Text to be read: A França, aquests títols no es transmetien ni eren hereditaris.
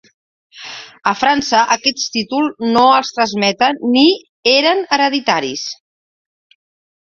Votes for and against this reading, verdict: 1, 2, rejected